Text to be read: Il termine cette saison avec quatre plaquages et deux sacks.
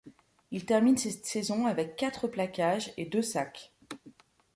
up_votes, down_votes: 2, 0